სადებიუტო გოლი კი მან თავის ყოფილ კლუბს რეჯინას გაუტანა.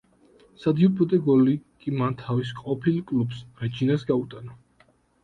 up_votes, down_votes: 0, 2